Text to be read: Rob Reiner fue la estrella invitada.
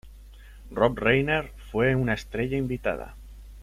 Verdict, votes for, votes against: rejected, 0, 2